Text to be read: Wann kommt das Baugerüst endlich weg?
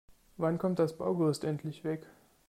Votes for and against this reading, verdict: 2, 0, accepted